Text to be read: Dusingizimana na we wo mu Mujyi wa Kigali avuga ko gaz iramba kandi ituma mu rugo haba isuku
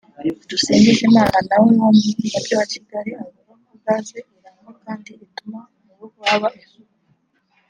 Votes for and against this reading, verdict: 1, 2, rejected